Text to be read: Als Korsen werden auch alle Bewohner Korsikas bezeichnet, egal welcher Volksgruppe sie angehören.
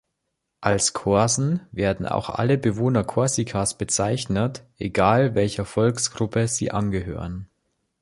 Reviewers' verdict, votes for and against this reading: accepted, 2, 0